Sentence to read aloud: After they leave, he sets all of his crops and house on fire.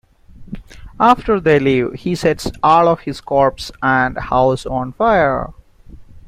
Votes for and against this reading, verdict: 0, 2, rejected